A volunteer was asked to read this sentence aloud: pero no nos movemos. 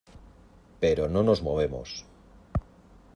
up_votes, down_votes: 2, 0